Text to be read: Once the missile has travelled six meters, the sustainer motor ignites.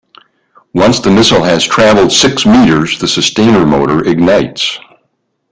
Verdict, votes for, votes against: accepted, 3, 0